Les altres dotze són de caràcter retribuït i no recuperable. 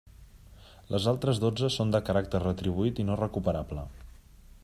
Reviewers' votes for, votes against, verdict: 3, 0, accepted